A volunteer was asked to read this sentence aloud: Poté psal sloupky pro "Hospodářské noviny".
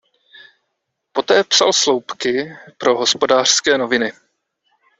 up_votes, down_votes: 2, 0